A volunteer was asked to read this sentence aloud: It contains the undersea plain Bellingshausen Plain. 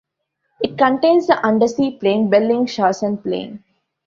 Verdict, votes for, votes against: rejected, 1, 2